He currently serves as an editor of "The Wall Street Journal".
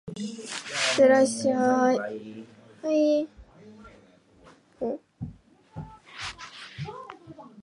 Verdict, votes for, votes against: rejected, 0, 2